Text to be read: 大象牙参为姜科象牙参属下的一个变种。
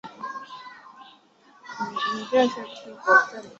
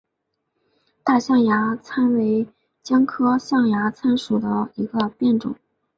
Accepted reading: second